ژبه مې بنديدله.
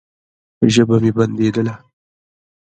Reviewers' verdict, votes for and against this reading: accepted, 2, 0